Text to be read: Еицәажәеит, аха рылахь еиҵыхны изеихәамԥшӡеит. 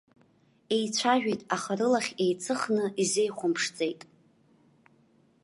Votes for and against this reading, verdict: 2, 0, accepted